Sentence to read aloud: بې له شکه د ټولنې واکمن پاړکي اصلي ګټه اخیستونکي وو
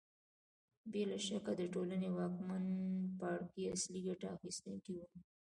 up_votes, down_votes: 3, 0